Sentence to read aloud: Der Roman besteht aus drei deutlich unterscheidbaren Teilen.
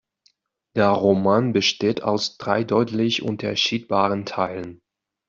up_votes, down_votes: 1, 2